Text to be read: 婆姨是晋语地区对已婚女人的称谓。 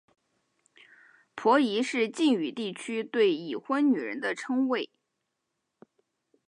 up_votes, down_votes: 2, 0